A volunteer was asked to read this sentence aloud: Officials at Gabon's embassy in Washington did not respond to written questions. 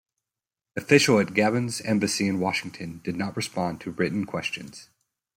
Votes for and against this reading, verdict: 1, 2, rejected